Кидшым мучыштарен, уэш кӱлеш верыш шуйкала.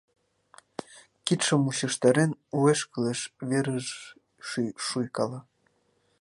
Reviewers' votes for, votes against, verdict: 1, 2, rejected